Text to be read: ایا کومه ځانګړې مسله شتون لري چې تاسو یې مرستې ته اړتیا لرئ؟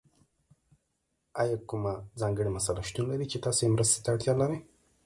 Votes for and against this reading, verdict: 1, 2, rejected